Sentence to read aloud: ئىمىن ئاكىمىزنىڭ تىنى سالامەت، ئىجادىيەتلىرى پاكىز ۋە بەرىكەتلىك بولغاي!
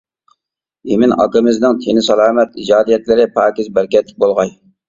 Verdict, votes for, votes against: rejected, 0, 2